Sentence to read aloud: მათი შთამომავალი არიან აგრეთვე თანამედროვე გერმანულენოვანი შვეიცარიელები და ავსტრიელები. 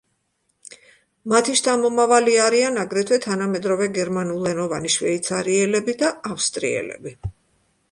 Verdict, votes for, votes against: accepted, 2, 0